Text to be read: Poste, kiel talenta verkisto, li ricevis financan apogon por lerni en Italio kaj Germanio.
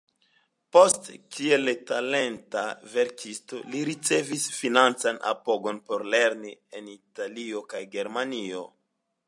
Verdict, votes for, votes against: accepted, 2, 0